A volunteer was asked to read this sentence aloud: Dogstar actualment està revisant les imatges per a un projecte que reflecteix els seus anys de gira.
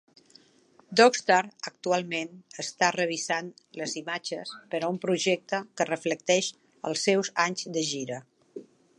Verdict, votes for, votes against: accepted, 6, 0